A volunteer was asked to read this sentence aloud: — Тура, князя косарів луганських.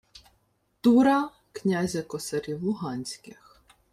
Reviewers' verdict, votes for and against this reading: accepted, 2, 0